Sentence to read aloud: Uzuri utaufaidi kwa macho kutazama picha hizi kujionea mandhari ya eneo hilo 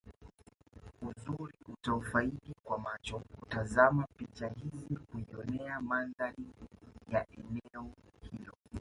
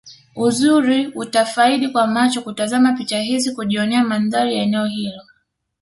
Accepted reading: second